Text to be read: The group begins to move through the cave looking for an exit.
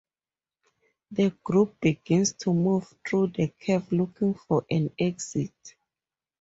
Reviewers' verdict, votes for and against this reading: accepted, 4, 0